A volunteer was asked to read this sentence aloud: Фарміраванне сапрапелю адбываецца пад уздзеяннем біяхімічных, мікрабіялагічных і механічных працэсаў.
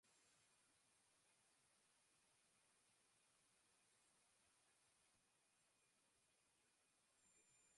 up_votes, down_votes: 0, 2